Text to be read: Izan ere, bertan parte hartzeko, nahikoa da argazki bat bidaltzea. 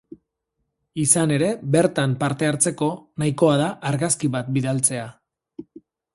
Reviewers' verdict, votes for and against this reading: accepted, 4, 0